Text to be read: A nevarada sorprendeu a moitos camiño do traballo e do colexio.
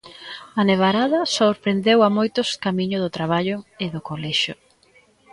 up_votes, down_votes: 1, 2